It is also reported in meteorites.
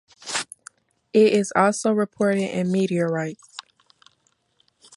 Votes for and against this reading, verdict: 2, 0, accepted